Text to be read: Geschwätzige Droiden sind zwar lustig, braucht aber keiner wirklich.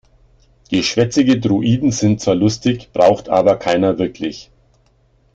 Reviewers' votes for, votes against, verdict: 2, 0, accepted